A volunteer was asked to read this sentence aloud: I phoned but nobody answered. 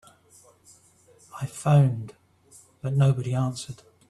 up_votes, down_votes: 4, 0